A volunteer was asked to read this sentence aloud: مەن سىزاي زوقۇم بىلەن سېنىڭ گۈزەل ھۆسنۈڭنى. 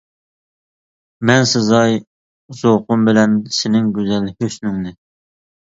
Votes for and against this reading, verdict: 2, 0, accepted